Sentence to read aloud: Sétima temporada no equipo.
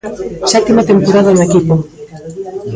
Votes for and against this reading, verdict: 1, 2, rejected